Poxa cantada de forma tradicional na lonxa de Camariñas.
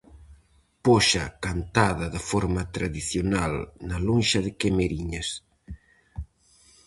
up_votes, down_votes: 0, 4